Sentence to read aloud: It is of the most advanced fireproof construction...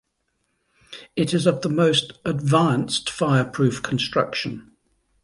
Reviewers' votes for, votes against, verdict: 2, 1, accepted